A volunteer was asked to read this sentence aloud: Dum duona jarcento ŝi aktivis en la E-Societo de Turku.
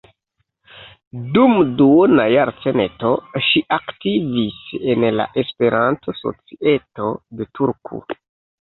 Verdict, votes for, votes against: rejected, 0, 2